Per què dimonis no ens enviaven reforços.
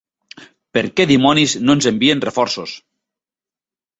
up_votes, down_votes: 1, 2